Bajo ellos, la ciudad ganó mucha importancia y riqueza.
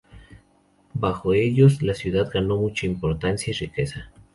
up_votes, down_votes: 0, 2